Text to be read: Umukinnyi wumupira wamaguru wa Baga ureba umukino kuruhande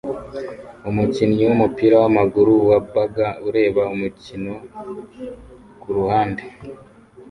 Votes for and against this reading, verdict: 2, 0, accepted